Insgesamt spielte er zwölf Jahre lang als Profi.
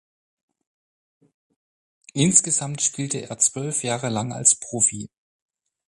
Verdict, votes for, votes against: accepted, 6, 0